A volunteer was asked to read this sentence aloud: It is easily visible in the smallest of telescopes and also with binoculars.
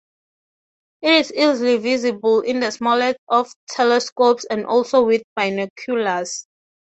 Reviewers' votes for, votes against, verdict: 0, 3, rejected